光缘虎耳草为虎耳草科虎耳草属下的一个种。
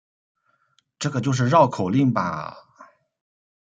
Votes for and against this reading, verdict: 1, 2, rejected